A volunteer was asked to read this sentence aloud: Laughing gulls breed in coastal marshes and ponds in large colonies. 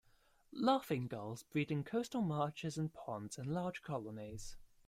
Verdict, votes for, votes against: accepted, 2, 1